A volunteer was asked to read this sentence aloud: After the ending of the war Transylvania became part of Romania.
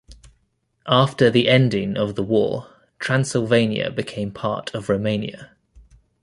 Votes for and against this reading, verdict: 2, 0, accepted